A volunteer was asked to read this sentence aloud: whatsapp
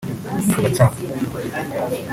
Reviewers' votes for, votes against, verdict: 0, 3, rejected